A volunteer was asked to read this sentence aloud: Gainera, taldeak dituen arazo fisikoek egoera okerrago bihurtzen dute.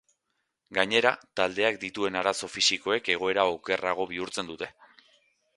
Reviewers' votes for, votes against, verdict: 2, 0, accepted